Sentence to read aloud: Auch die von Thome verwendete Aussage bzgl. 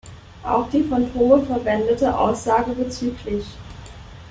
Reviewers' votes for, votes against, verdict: 0, 2, rejected